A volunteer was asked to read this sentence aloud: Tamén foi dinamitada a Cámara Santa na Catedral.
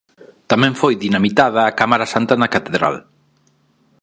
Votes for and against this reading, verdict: 2, 0, accepted